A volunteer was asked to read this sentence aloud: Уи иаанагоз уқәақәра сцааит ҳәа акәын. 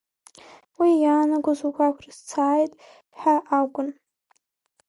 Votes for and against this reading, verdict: 1, 2, rejected